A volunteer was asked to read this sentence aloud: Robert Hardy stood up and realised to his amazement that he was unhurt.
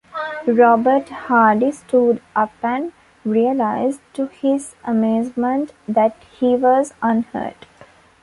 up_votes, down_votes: 2, 0